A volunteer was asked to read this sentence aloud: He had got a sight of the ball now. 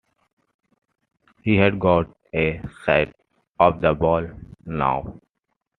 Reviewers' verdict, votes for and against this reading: accepted, 2, 1